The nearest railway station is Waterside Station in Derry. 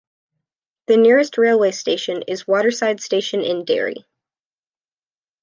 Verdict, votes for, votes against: accepted, 2, 0